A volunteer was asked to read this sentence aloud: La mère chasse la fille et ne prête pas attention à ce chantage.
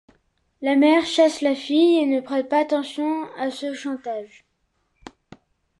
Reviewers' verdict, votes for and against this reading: accepted, 2, 0